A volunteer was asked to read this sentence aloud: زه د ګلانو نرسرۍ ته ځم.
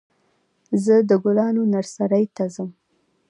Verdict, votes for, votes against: rejected, 0, 2